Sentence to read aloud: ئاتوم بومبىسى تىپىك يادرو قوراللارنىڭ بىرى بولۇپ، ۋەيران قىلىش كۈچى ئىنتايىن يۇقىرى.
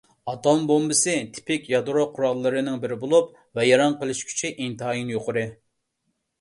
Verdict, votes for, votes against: rejected, 0, 2